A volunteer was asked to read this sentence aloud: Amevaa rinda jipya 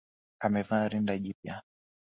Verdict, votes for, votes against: accepted, 2, 0